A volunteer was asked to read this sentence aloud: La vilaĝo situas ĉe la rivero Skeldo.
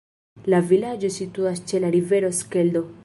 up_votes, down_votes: 1, 2